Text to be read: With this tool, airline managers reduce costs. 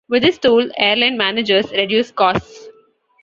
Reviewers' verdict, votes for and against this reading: accepted, 2, 0